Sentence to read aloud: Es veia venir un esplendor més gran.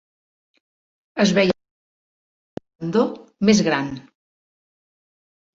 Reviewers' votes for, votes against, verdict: 0, 2, rejected